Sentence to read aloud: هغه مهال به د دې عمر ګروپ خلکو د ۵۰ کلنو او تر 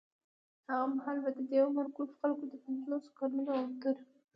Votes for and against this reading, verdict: 0, 2, rejected